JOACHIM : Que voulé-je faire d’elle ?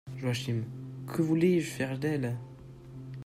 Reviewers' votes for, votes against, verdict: 0, 2, rejected